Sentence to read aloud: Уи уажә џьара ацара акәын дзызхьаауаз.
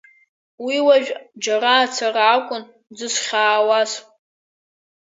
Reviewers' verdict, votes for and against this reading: accepted, 4, 1